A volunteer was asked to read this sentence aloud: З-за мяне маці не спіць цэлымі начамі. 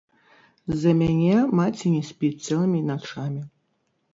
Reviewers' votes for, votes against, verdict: 0, 2, rejected